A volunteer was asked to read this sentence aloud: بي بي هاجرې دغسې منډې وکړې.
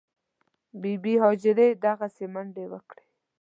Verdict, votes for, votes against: accepted, 2, 0